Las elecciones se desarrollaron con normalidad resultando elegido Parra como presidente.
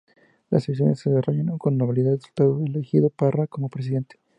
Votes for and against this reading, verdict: 2, 0, accepted